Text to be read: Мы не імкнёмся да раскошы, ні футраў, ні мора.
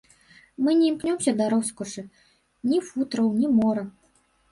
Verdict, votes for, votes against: rejected, 0, 2